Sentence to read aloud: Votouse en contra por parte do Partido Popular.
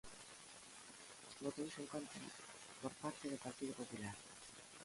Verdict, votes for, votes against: rejected, 1, 2